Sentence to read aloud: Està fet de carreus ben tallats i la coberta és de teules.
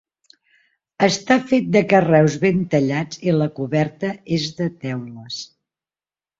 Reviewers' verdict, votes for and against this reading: accepted, 4, 0